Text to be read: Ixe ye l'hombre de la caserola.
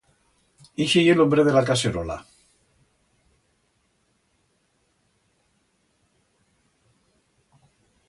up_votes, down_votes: 2, 0